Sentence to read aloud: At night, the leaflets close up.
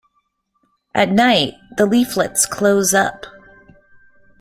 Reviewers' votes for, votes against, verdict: 2, 0, accepted